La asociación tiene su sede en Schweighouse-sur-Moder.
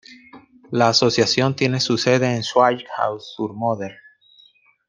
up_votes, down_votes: 2, 1